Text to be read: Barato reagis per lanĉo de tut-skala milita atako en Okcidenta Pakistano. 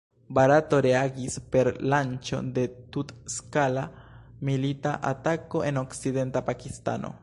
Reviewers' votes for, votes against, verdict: 1, 2, rejected